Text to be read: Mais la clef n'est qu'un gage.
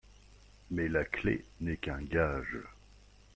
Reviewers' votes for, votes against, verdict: 2, 0, accepted